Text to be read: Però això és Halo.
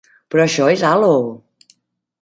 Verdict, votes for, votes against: accepted, 2, 0